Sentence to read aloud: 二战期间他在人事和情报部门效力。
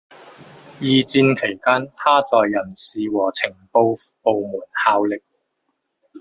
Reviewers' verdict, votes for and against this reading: rejected, 1, 2